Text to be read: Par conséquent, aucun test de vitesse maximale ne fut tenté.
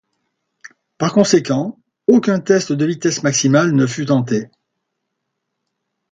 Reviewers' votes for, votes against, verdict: 2, 0, accepted